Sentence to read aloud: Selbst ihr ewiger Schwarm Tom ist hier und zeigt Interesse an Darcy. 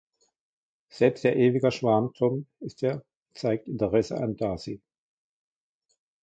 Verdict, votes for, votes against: rejected, 1, 2